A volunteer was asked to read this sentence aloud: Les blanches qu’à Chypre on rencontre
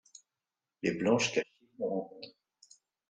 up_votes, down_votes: 0, 2